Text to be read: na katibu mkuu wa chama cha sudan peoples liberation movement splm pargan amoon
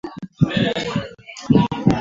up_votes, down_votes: 0, 2